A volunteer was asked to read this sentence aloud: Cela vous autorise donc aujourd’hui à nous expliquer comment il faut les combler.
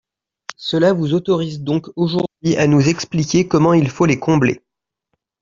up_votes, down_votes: 0, 2